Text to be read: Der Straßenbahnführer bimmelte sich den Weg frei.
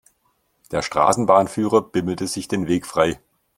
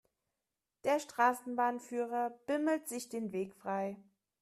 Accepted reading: first